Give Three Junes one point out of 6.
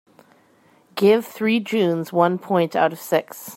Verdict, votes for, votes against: rejected, 0, 2